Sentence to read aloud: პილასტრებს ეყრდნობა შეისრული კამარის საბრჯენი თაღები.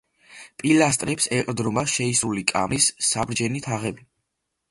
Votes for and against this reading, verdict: 1, 2, rejected